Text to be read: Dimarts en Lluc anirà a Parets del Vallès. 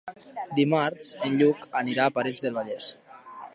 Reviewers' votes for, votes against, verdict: 3, 0, accepted